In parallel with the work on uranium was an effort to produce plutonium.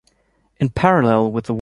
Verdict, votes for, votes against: rejected, 0, 2